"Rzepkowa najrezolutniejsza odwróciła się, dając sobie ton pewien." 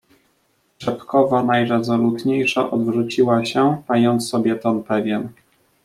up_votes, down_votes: 0, 2